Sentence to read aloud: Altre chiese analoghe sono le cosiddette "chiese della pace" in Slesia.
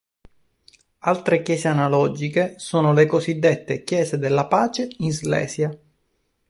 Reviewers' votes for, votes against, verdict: 1, 2, rejected